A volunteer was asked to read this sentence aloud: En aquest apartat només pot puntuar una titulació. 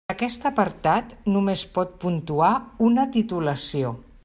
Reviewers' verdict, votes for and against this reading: rejected, 1, 2